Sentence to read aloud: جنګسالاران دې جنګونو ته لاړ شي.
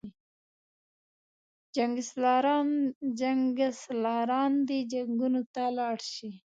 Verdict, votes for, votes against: rejected, 0, 2